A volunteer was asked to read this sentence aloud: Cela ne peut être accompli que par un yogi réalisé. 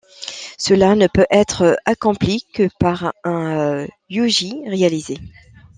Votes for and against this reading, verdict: 1, 2, rejected